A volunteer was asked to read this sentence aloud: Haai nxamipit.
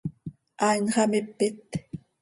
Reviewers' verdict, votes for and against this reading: accepted, 2, 0